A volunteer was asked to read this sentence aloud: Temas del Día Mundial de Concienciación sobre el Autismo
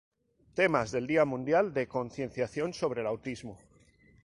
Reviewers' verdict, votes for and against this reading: rejected, 0, 2